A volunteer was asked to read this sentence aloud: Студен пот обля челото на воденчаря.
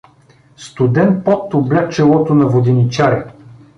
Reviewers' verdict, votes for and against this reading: accepted, 2, 0